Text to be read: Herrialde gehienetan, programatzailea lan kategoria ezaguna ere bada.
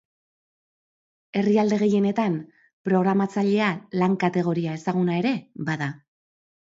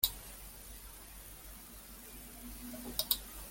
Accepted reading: first